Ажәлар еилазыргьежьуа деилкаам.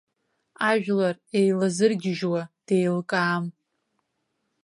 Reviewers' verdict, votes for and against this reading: accepted, 2, 0